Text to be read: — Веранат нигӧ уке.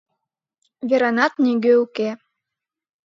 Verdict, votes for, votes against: accepted, 2, 0